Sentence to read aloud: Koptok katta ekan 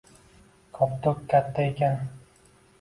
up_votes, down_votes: 2, 0